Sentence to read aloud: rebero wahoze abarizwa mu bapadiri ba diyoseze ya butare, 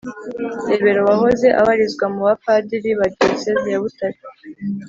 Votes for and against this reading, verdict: 3, 0, accepted